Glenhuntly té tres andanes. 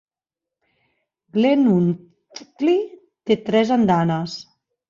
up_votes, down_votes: 0, 2